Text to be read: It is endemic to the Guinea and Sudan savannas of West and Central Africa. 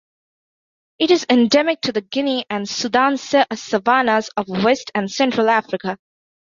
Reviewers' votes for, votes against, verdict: 0, 2, rejected